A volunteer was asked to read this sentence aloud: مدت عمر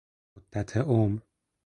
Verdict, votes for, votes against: rejected, 2, 4